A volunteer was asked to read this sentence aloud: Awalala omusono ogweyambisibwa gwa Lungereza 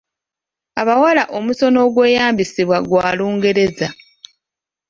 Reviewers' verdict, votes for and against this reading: rejected, 0, 2